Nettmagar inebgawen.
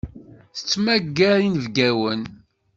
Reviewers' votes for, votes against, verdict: 1, 2, rejected